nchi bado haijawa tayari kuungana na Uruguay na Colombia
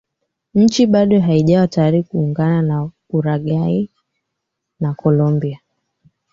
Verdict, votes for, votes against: rejected, 0, 2